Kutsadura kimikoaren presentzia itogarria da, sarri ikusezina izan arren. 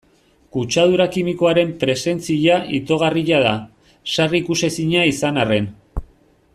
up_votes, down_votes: 2, 0